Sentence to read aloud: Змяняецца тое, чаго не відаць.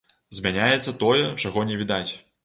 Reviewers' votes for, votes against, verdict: 2, 0, accepted